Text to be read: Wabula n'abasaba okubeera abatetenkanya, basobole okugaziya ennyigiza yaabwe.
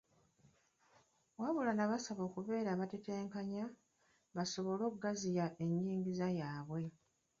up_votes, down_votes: 2, 3